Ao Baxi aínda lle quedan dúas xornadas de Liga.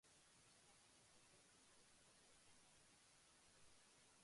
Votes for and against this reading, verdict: 0, 2, rejected